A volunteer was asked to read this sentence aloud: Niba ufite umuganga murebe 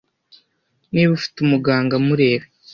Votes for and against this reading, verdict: 2, 0, accepted